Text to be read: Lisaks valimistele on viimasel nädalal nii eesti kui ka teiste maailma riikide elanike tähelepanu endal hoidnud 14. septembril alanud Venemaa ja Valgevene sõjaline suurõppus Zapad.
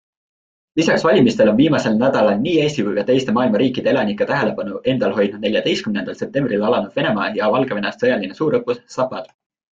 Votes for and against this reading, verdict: 0, 2, rejected